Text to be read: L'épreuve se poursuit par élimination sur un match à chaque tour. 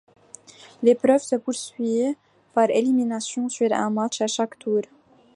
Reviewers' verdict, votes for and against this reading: accepted, 2, 0